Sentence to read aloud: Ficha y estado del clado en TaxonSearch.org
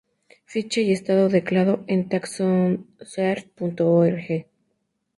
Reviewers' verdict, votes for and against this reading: rejected, 0, 4